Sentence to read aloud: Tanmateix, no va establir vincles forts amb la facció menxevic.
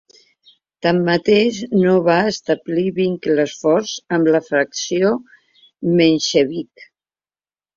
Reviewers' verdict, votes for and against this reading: accepted, 4, 1